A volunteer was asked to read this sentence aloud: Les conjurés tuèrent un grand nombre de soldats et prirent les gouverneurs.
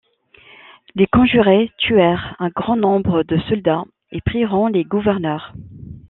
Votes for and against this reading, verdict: 1, 2, rejected